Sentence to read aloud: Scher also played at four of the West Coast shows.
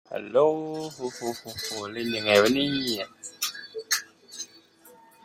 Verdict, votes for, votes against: rejected, 0, 2